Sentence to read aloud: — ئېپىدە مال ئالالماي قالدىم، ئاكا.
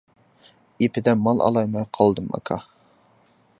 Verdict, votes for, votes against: accepted, 2, 0